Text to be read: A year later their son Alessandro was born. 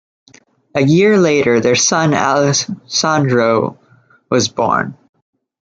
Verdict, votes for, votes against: rejected, 0, 2